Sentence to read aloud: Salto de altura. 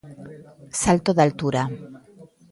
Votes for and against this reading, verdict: 1, 2, rejected